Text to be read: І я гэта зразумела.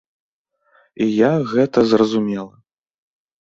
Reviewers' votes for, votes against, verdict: 0, 2, rejected